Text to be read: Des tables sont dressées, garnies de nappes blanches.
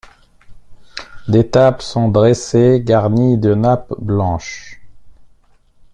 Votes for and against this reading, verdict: 0, 2, rejected